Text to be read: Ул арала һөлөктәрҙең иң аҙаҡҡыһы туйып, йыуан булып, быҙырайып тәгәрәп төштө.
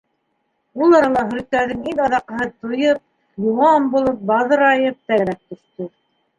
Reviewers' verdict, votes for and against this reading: rejected, 0, 2